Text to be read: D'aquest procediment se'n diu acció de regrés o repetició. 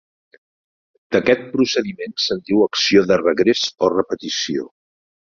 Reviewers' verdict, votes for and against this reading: accepted, 3, 0